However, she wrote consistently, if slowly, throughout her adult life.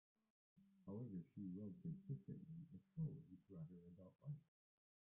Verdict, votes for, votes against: rejected, 0, 2